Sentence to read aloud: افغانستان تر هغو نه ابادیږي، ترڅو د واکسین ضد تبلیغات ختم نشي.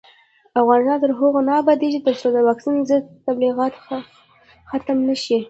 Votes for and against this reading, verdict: 2, 1, accepted